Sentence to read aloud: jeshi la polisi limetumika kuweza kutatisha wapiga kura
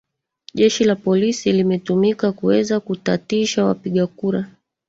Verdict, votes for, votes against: rejected, 2, 3